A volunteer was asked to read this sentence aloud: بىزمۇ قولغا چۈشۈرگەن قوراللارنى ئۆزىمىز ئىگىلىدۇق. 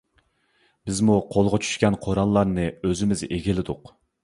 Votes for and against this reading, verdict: 0, 2, rejected